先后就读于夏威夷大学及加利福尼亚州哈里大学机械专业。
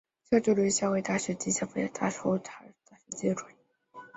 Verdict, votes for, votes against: accepted, 2, 0